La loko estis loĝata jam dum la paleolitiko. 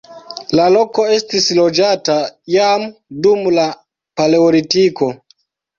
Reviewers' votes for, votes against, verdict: 1, 2, rejected